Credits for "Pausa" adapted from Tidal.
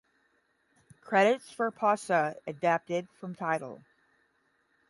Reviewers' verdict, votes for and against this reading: accepted, 10, 0